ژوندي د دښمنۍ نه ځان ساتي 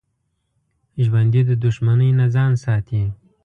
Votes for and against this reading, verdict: 2, 0, accepted